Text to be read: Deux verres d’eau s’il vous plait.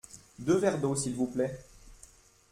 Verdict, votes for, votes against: accepted, 2, 0